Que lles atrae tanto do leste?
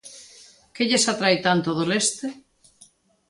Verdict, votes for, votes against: accepted, 2, 0